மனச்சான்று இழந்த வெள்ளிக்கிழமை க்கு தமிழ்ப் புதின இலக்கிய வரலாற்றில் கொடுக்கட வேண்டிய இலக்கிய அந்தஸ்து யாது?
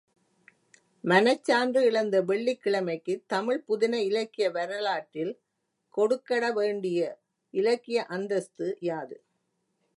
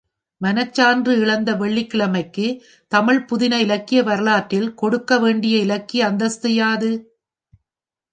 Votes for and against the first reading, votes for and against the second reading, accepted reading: 2, 0, 1, 3, first